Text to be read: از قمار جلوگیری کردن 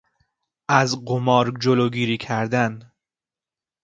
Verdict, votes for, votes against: accepted, 2, 0